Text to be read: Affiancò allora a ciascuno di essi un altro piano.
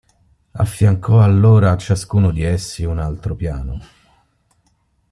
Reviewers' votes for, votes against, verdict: 2, 0, accepted